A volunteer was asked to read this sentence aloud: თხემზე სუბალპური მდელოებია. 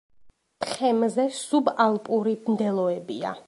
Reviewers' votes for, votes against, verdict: 2, 0, accepted